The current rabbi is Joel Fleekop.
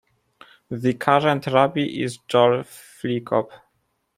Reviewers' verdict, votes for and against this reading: rejected, 1, 2